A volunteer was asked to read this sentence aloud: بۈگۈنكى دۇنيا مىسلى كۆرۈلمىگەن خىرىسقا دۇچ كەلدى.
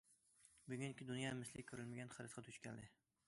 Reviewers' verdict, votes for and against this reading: accepted, 2, 0